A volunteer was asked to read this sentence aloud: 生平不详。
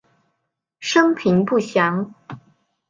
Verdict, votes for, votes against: accepted, 2, 0